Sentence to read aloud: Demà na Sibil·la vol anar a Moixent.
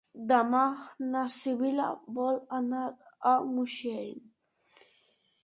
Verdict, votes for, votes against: accepted, 2, 0